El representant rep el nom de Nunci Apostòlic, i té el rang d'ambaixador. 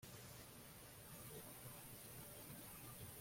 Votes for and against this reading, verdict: 0, 2, rejected